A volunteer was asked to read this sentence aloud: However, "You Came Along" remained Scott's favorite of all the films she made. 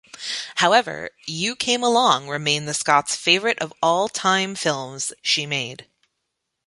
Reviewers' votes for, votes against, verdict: 1, 2, rejected